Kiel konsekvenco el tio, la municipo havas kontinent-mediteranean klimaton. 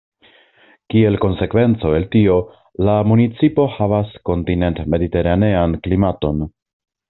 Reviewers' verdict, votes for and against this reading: accepted, 2, 0